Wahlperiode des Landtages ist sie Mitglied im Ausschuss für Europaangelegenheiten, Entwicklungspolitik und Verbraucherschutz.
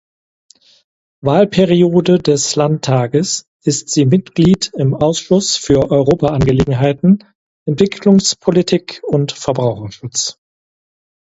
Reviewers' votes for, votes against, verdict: 0, 4, rejected